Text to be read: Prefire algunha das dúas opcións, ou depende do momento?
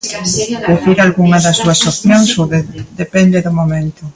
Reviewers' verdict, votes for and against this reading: rejected, 0, 2